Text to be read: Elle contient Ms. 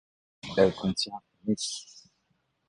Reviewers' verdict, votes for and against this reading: rejected, 1, 2